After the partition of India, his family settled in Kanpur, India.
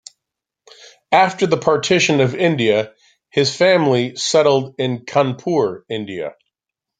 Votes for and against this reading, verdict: 2, 1, accepted